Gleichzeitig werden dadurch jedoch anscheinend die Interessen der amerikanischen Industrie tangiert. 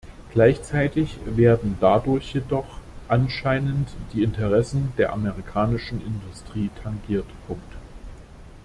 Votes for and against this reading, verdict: 0, 2, rejected